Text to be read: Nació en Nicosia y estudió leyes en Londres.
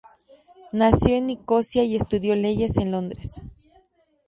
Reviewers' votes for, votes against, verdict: 2, 0, accepted